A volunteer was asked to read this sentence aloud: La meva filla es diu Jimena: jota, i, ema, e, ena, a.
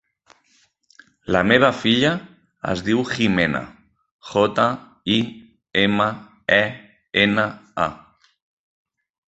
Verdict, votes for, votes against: rejected, 1, 2